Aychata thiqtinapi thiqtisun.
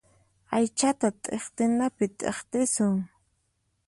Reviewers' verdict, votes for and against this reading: accepted, 4, 2